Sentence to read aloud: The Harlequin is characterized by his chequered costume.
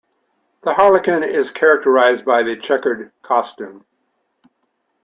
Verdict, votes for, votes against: accepted, 2, 0